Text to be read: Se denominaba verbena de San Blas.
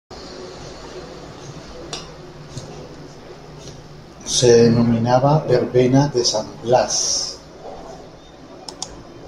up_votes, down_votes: 2, 1